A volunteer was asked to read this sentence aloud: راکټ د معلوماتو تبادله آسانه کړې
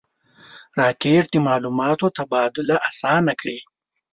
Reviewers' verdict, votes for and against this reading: rejected, 0, 2